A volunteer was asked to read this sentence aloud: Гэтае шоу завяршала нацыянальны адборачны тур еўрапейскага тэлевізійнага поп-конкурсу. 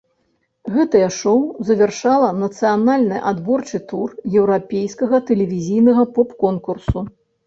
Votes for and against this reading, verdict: 0, 2, rejected